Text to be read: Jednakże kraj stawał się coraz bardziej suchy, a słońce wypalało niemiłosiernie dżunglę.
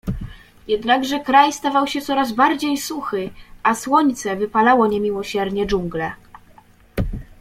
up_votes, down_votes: 2, 0